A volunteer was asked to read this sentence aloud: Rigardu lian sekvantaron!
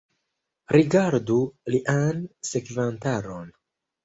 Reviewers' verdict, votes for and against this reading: rejected, 0, 2